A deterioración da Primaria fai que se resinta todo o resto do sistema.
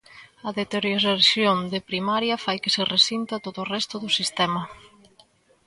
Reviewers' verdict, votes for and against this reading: rejected, 0, 2